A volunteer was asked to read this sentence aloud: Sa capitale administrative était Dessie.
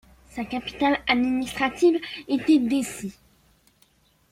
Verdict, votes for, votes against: accepted, 2, 0